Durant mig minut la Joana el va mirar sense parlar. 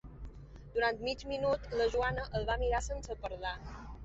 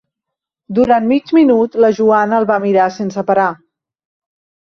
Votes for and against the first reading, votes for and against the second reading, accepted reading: 3, 0, 0, 2, first